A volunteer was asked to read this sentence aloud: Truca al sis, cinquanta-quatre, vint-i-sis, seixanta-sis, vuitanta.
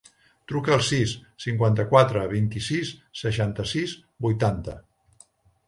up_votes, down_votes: 2, 0